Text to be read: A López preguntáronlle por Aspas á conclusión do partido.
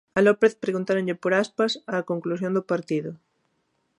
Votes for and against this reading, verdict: 2, 0, accepted